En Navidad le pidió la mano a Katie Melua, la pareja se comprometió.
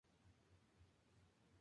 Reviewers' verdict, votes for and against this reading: rejected, 0, 2